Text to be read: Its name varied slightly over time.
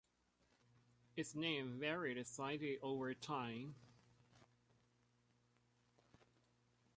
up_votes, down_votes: 2, 1